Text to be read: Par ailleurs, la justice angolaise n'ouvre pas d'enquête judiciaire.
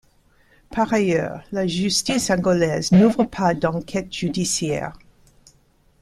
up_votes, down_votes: 2, 0